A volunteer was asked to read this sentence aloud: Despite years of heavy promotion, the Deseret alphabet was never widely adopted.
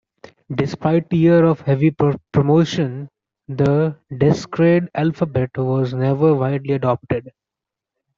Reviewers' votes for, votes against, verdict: 0, 2, rejected